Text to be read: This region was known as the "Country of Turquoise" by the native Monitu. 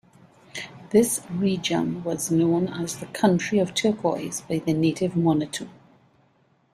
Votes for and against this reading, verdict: 2, 0, accepted